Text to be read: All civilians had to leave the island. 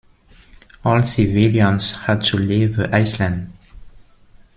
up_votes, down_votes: 0, 2